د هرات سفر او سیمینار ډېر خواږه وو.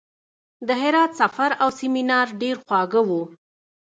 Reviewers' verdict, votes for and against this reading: rejected, 1, 2